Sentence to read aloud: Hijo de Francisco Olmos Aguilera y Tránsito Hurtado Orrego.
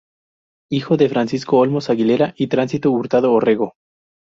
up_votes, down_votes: 2, 0